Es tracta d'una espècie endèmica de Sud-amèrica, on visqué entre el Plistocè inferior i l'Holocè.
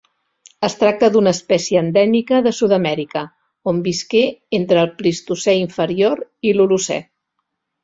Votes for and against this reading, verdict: 2, 0, accepted